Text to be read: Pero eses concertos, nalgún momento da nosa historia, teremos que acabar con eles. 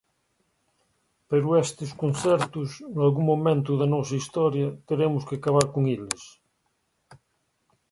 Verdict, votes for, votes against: rejected, 0, 3